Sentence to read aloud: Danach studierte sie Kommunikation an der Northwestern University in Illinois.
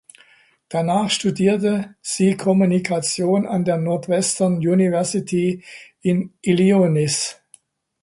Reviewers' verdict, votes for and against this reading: rejected, 0, 2